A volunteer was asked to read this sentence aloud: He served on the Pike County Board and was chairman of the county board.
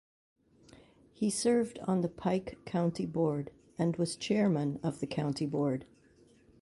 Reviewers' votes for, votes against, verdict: 2, 0, accepted